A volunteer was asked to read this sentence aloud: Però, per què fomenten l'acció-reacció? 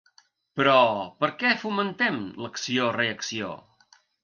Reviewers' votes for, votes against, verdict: 2, 3, rejected